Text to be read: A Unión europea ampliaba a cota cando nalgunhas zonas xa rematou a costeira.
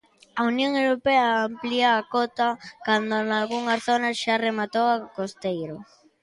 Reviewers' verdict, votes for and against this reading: rejected, 0, 2